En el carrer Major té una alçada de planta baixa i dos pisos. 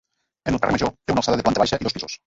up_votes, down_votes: 1, 2